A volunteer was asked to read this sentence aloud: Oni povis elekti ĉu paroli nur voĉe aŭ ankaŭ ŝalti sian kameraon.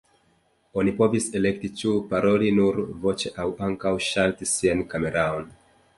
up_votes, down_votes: 2, 1